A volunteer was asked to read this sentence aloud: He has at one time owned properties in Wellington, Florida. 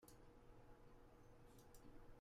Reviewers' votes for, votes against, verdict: 0, 2, rejected